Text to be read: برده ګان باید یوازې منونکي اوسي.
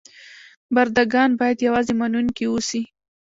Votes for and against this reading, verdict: 1, 2, rejected